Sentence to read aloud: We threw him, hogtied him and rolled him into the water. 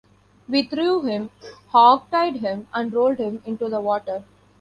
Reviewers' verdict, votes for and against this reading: accepted, 3, 0